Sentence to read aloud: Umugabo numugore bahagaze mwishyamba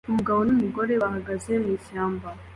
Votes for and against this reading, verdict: 2, 0, accepted